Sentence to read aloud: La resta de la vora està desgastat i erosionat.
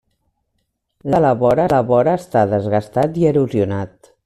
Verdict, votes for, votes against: rejected, 1, 2